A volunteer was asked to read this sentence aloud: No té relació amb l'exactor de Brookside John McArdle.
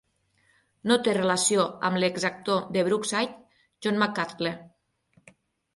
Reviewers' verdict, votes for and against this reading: accepted, 12, 0